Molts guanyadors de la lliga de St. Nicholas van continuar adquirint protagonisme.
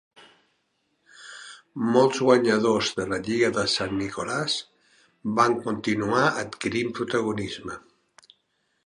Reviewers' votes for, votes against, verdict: 2, 0, accepted